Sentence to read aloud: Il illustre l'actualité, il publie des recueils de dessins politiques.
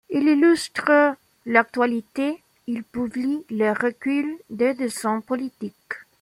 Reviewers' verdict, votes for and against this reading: rejected, 0, 2